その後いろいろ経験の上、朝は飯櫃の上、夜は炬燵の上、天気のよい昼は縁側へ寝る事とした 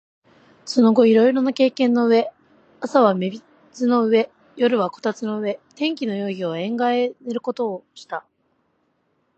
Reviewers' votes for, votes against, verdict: 2, 1, accepted